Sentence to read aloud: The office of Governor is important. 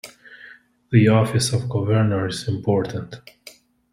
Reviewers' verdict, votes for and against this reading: accepted, 2, 0